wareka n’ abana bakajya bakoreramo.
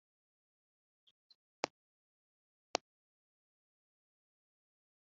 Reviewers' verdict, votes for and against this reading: rejected, 1, 2